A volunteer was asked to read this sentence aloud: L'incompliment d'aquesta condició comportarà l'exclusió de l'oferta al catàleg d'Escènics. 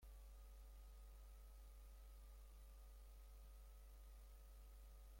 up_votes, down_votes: 0, 3